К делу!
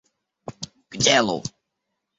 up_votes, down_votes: 0, 2